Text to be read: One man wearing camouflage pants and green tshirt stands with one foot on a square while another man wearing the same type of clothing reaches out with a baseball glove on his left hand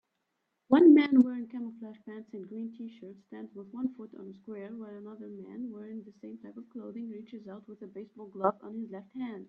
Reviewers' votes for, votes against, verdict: 2, 1, accepted